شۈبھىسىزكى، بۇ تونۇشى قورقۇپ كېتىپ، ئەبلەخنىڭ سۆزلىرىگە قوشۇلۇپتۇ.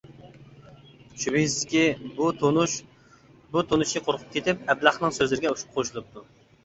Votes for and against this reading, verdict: 0, 2, rejected